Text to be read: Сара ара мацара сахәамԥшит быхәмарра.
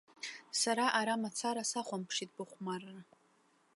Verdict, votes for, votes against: accepted, 2, 0